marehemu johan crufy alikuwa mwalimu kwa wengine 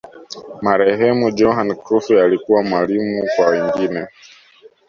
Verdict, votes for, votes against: accepted, 2, 1